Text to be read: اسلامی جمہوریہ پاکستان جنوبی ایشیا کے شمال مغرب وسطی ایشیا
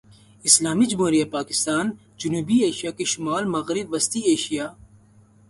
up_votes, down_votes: 0, 2